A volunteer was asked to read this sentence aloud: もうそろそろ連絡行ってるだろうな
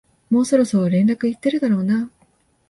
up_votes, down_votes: 2, 0